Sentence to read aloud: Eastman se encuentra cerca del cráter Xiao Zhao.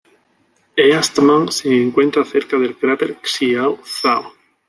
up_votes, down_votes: 1, 2